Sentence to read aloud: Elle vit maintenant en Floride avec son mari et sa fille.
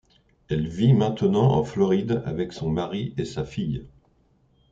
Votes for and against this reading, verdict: 2, 0, accepted